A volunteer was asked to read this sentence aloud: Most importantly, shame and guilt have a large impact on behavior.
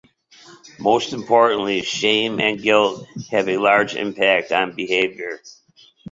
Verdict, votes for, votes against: accepted, 2, 0